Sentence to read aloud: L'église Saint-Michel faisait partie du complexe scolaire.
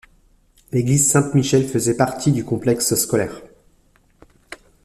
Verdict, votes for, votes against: rejected, 0, 2